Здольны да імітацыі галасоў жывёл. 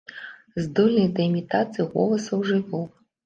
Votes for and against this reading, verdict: 0, 2, rejected